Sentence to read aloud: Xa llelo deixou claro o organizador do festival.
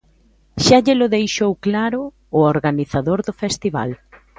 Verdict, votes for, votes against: accepted, 2, 0